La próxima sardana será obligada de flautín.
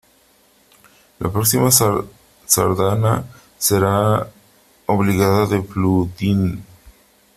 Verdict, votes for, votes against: rejected, 0, 3